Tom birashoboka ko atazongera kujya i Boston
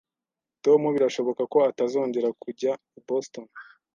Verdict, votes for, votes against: accepted, 2, 0